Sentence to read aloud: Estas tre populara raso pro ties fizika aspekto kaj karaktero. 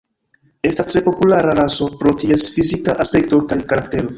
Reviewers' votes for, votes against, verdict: 1, 2, rejected